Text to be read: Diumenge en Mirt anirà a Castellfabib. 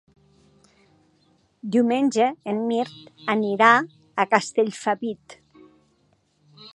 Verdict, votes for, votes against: accepted, 2, 0